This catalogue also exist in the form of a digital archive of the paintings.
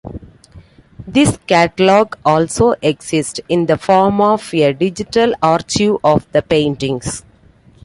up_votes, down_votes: 2, 1